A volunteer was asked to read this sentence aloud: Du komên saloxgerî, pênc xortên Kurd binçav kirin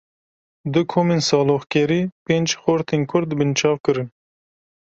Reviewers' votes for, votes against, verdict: 2, 0, accepted